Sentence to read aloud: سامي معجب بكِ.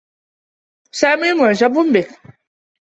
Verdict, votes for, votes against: accepted, 2, 1